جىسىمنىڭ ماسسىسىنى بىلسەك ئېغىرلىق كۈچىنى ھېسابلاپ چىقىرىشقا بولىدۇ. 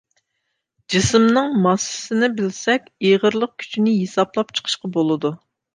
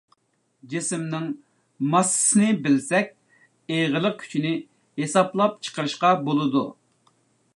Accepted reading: second